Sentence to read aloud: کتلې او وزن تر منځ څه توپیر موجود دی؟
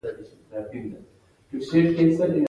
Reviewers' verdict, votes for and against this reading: rejected, 0, 2